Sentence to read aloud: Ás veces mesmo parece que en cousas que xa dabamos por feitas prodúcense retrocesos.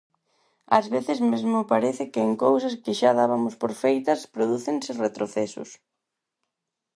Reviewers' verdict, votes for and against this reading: rejected, 0, 4